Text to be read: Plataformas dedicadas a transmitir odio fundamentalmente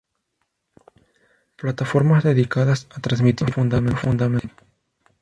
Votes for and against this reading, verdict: 0, 2, rejected